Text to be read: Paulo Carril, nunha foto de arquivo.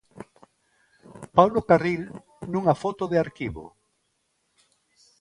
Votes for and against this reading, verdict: 2, 1, accepted